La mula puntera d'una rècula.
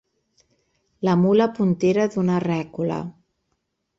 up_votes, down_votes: 4, 0